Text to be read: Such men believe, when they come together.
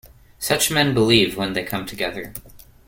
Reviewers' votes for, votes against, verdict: 2, 0, accepted